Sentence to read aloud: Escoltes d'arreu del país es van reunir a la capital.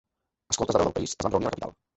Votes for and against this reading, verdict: 0, 3, rejected